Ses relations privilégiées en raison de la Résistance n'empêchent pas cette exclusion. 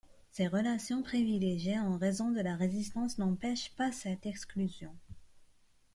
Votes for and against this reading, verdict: 2, 1, accepted